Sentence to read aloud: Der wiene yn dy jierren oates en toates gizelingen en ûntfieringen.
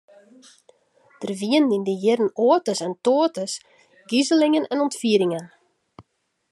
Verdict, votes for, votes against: accepted, 2, 0